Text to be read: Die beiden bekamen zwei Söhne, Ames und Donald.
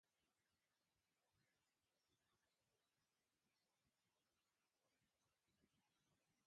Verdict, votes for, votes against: rejected, 0, 2